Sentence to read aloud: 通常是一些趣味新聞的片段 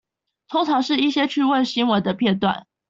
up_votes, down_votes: 2, 0